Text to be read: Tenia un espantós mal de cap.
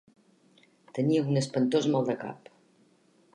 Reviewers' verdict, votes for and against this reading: accepted, 2, 0